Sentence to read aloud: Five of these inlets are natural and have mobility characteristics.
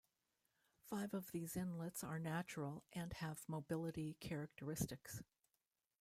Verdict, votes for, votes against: rejected, 1, 2